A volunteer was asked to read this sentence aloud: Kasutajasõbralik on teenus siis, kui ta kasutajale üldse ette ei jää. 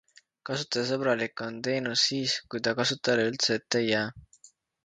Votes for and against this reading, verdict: 2, 0, accepted